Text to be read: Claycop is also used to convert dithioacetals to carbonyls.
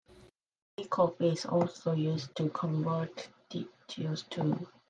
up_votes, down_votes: 0, 2